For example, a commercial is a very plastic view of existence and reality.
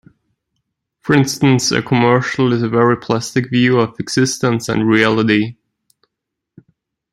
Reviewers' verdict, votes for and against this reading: rejected, 0, 2